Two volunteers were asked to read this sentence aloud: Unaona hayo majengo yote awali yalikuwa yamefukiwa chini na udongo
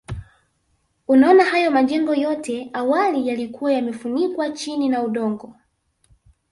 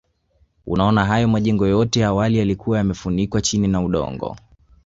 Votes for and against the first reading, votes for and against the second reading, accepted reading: 1, 2, 5, 0, second